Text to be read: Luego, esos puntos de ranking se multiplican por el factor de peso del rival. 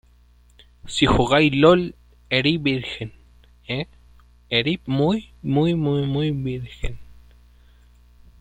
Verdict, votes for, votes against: rejected, 0, 2